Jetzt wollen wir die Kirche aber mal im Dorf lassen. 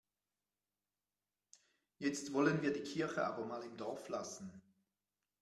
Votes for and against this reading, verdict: 2, 0, accepted